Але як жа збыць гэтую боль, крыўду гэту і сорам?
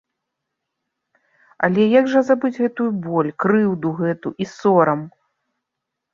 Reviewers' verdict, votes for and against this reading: accepted, 2, 1